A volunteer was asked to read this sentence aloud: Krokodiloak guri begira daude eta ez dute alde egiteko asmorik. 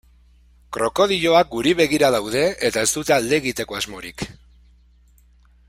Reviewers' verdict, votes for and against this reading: accepted, 2, 0